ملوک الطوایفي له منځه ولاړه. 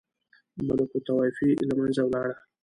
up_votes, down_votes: 1, 2